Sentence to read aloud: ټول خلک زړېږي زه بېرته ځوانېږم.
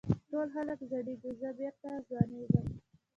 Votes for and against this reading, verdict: 2, 1, accepted